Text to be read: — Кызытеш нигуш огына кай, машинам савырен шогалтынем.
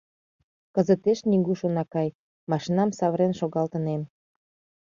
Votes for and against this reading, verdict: 1, 2, rejected